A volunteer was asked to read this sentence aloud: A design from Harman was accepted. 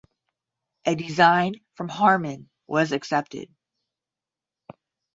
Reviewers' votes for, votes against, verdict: 5, 5, rejected